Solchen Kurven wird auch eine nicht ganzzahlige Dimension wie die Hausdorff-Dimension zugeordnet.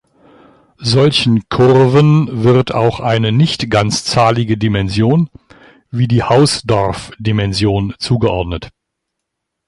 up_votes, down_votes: 2, 0